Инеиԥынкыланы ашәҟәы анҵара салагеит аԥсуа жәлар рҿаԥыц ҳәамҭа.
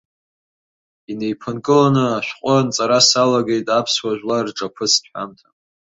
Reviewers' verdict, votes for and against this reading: accepted, 2, 1